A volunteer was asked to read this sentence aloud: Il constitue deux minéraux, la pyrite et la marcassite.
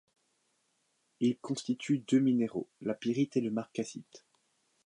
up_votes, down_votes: 1, 2